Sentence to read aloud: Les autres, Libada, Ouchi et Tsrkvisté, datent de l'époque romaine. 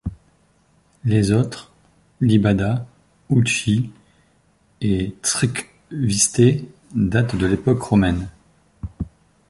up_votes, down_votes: 2, 0